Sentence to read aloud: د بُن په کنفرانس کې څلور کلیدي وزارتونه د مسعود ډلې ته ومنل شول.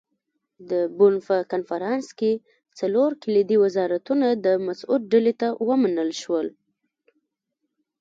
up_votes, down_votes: 1, 2